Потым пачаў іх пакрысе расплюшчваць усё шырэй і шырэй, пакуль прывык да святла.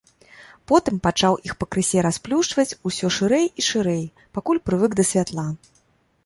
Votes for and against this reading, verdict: 2, 0, accepted